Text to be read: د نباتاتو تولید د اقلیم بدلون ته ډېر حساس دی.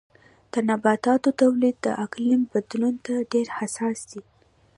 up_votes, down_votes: 2, 1